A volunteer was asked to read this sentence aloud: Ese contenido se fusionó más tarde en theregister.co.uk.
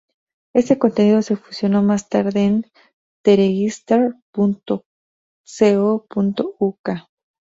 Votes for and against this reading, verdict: 6, 0, accepted